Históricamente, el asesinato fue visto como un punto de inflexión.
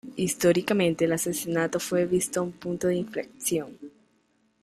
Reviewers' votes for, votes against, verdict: 1, 2, rejected